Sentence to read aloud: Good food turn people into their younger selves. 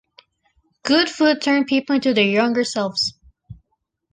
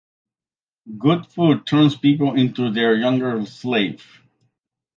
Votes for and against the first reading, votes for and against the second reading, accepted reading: 2, 0, 0, 2, first